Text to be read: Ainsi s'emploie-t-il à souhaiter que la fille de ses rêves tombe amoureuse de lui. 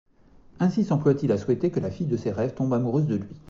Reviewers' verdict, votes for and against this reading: accepted, 2, 0